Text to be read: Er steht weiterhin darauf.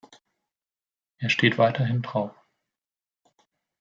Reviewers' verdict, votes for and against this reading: rejected, 0, 2